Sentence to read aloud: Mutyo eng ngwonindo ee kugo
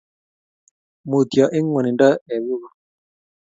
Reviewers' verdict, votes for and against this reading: accepted, 2, 0